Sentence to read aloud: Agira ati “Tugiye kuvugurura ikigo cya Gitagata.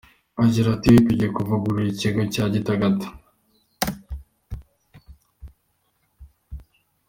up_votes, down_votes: 1, 2